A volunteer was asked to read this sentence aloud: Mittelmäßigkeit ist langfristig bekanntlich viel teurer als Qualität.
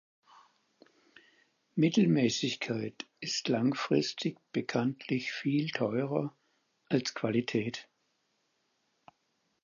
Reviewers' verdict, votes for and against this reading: accepted, 4, 0